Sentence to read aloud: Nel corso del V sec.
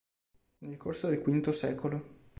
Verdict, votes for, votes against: rejected, 1, 2